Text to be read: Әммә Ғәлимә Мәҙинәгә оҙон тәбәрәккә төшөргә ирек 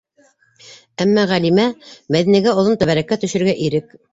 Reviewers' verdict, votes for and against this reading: accepted, 2, 0